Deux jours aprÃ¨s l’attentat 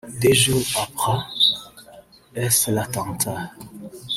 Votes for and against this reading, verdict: 2, 3, rejected